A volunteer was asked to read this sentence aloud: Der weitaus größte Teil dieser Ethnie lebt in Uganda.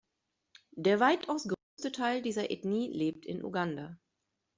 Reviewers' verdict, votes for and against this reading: accepted, 2, 0